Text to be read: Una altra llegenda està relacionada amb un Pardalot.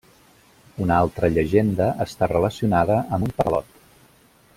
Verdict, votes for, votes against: rejected, 0, 2